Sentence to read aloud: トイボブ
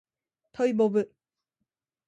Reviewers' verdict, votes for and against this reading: accepted, 2, 0